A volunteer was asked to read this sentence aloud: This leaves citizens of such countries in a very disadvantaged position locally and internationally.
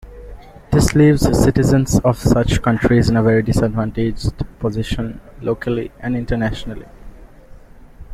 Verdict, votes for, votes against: accepted, 2, 0